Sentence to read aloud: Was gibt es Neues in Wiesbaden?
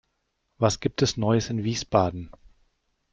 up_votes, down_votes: 1, 2